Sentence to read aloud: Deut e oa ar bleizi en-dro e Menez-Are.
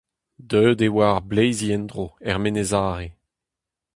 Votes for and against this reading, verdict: 0, 2, rejected